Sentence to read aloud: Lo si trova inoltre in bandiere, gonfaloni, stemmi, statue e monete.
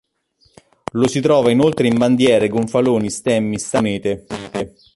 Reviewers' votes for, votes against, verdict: 0, 2, rejected